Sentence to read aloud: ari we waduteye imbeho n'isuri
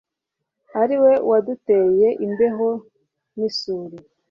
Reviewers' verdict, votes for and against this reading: accepted, 2, 0